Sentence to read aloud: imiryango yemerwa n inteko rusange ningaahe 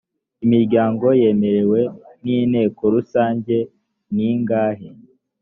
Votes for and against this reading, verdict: 1, 2, rejected